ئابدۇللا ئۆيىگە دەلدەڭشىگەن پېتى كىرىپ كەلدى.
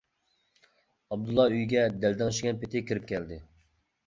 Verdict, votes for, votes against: accepted, 2, 0